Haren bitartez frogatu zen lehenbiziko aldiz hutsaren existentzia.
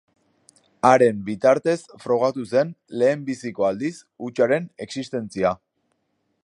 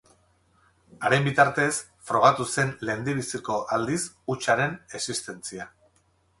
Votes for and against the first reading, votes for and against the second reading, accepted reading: 2, 0, 0, 4, first